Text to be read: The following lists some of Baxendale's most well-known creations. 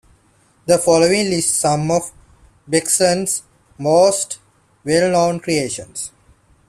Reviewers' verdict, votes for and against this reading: rejected, 0, 2